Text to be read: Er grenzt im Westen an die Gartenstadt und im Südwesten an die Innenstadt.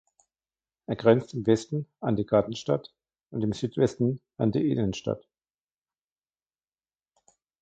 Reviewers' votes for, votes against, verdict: 1, 2, rejected